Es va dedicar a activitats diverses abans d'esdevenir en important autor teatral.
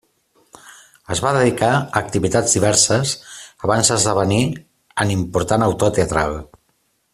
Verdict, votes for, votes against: accepted, 2, 1